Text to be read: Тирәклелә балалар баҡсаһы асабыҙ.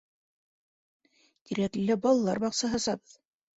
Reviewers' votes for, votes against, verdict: 1, 2, rejected